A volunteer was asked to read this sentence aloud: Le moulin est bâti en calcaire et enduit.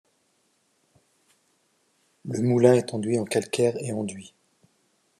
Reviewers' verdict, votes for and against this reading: rejected, 0, 2